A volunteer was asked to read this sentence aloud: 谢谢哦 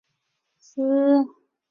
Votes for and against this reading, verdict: 0, 4, rejected